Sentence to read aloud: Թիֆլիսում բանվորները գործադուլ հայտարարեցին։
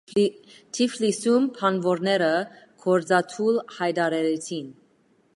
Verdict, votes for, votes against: accepted, 2, 0